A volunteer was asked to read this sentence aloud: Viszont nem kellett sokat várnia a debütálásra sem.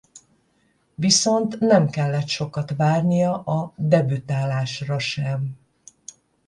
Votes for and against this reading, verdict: 0, 5, rejected